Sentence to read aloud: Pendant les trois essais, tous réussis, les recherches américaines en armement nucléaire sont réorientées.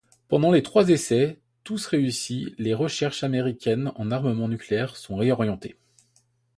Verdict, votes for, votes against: accepted, 2, 0